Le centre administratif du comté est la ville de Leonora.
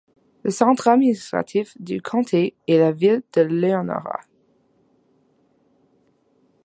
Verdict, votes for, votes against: accepted, 2, 0